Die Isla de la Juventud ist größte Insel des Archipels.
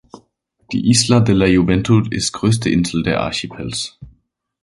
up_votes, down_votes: 0, 2